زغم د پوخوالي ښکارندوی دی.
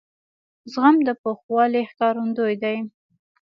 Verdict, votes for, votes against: accepted, 2, 0